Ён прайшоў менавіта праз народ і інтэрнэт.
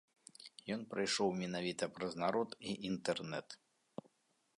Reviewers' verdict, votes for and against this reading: accepted, 2, 1